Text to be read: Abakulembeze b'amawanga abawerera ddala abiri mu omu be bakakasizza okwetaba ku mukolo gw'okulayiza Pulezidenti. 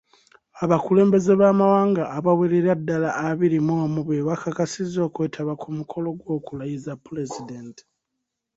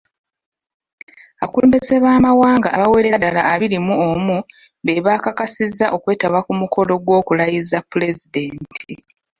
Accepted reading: first